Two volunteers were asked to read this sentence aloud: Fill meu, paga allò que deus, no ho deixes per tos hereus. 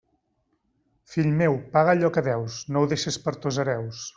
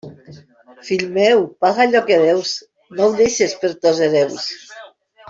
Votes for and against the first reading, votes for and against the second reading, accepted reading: 2, 0, 1, 2, first